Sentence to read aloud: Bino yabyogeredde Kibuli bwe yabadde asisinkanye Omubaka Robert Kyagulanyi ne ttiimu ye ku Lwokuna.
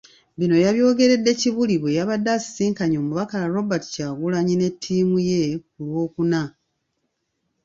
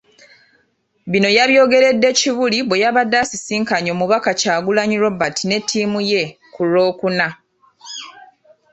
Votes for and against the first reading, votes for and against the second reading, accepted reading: 2, 1, 1, 2, first